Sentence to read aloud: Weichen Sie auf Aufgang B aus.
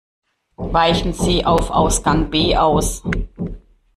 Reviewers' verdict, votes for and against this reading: rejected, 0, 2